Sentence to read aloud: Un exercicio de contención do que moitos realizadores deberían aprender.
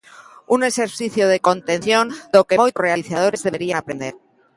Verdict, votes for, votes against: rejected, 0, 2